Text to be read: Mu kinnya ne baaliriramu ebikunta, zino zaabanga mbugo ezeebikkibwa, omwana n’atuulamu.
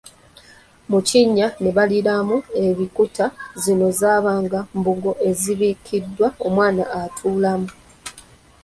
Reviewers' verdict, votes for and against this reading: rejected, 0, 2